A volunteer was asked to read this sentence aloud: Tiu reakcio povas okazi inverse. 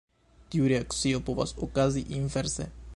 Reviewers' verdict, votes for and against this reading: rejected, 0, 2